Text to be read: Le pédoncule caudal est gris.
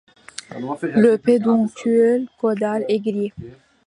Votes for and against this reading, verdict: 0, 2, rejected